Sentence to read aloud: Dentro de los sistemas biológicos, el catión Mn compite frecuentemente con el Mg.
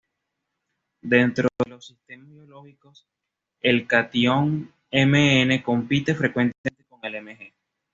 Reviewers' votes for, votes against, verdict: 1, 2, rejected